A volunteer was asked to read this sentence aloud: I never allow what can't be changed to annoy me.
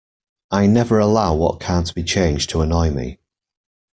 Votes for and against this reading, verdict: 2, 0, accepted